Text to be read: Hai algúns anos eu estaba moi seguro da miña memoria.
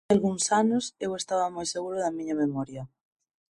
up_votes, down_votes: 2, 4